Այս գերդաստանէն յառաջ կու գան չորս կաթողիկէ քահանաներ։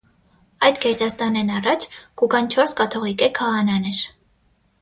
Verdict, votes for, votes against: accepted, 6, 3